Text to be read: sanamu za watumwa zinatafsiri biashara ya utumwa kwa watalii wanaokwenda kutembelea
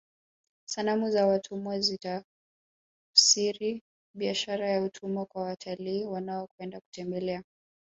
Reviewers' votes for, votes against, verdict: 2, 0, accepted